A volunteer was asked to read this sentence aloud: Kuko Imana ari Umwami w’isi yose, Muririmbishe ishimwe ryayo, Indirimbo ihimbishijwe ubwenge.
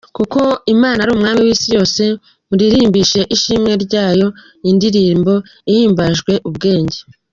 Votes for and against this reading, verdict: 0, 2, rejected